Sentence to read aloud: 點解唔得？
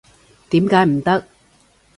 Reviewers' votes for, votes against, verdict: 2, 0, accepted